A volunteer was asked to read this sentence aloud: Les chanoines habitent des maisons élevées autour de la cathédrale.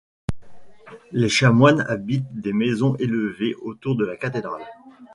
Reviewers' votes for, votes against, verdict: 0, 2, rejected